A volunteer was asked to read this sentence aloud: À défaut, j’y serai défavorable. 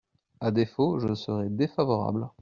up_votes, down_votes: 0, 2